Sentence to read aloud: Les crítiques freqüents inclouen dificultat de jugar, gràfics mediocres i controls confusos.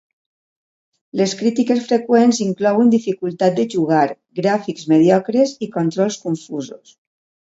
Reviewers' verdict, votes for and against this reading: accepted, 2, 0